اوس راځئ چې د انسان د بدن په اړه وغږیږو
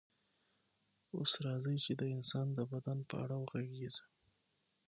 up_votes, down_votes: 6, 0